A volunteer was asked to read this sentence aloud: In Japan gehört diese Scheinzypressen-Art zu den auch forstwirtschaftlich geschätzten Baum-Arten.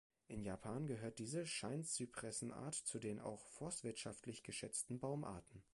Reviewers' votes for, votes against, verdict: 2, 0, accepted